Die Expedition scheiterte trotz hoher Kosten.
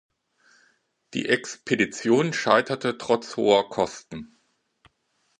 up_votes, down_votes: 2, 0